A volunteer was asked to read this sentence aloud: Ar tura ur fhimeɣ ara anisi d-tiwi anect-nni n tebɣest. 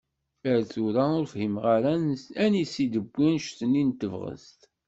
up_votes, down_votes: 2, 0